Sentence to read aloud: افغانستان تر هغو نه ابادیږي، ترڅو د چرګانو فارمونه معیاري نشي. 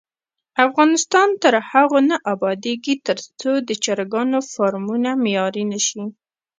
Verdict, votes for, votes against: rejected, 0, 2